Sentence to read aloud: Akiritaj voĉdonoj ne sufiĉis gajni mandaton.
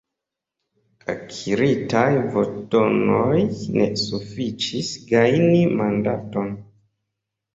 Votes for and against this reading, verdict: 2, 0, accepted